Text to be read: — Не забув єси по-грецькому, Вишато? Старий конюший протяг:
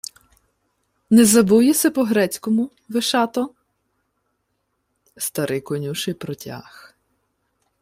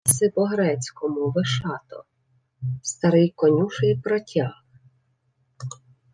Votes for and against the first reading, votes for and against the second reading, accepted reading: 2, 0, 0, 2, first